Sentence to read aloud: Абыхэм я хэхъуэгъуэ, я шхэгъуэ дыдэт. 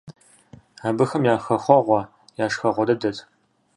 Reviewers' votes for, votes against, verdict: 2, 0, accepted